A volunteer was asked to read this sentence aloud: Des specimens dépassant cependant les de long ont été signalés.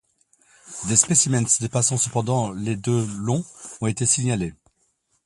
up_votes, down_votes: 1, 2